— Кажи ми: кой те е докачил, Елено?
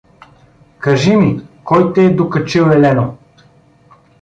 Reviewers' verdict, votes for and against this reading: accepted, 2, 0